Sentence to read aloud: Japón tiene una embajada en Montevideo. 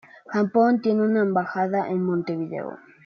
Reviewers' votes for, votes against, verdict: 2, 0, accepted